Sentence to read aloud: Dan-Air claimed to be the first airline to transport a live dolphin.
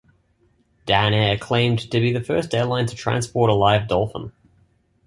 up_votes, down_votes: 2, 0